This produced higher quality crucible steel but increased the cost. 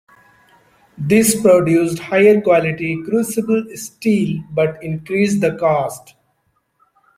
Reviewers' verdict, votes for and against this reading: rejected, 1, 2